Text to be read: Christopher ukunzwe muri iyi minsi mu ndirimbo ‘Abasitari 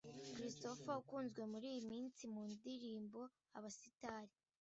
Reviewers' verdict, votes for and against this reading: accepted, 2, 0